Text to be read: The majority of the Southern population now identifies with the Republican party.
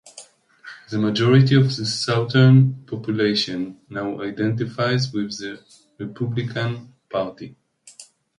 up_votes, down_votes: 0, 2